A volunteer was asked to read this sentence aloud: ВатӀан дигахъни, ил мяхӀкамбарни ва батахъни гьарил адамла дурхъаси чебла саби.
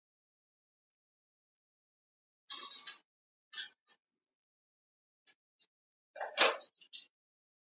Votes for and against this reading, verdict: 0, 2, rejected